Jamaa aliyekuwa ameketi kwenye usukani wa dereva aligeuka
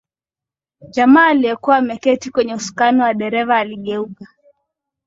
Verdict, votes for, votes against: accepted, 2, 0